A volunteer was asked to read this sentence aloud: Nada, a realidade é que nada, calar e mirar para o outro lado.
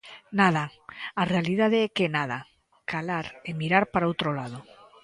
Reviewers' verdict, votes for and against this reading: accepted, 2, 1